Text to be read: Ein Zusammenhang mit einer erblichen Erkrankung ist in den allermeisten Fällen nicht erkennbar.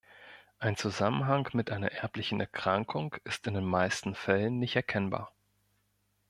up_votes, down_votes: 1, 2